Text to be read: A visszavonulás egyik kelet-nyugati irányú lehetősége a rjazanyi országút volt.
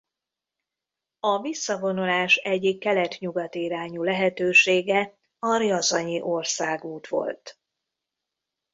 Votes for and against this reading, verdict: 2, 0, accepted